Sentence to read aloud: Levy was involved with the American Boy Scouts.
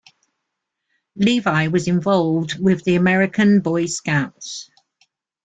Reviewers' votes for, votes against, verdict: 2, 0, accepted